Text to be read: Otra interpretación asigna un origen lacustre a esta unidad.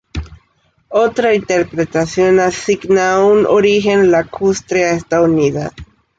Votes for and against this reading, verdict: 2, 0, accepted